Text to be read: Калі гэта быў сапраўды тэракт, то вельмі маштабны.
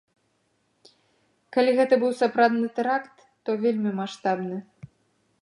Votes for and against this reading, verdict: 2, 1, accepted